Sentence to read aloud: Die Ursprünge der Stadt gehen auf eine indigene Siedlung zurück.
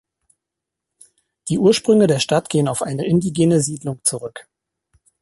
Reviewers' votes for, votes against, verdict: 1, 2, rejected